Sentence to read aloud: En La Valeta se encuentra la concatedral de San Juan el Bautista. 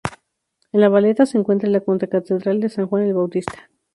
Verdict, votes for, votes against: rejected, 0, 2